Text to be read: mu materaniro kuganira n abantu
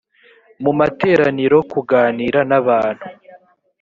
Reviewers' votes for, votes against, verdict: 3, 0, accepted